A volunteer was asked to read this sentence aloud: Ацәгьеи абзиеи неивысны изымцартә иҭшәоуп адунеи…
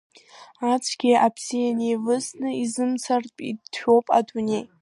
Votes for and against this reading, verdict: 2, 1, accepted